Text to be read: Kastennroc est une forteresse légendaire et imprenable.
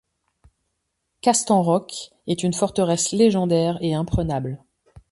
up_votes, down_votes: 2, 0